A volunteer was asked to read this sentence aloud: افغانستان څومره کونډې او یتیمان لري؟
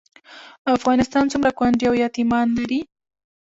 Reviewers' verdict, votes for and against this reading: accepted, 2, 0